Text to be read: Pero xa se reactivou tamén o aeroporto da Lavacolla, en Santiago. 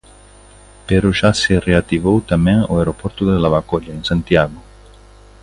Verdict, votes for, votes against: rejected, 1, 2